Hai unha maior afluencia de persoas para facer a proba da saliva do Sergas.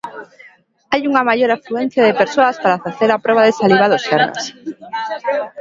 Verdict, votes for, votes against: rejected, 0, 2